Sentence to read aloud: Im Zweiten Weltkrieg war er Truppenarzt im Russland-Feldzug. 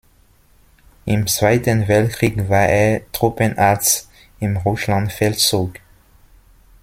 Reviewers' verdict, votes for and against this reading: rejected, 1, 2